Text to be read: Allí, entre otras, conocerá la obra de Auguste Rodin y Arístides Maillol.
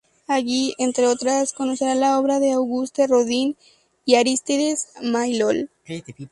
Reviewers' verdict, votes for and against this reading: rejected, 0, 2